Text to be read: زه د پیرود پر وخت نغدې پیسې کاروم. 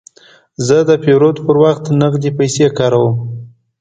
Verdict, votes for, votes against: accepted, 2, 0